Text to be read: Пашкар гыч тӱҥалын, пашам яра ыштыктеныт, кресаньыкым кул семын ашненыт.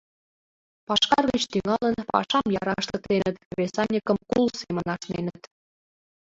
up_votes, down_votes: 2, 0